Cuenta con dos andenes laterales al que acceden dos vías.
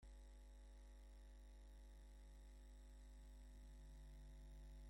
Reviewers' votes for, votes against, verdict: 0, 2, rejected